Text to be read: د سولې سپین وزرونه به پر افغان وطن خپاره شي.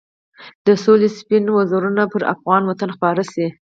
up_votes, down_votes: 2, 2